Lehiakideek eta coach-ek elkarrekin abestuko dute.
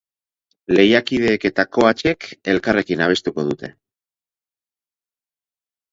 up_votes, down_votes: 4, 0